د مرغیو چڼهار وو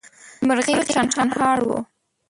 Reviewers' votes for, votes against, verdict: 0, 2, rejected